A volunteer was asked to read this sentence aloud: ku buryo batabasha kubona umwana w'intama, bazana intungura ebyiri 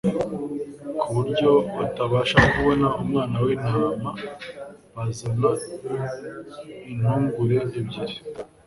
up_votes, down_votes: 1, 2